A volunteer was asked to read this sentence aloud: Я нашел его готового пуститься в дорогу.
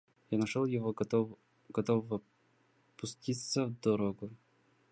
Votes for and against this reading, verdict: 1, 2, rejected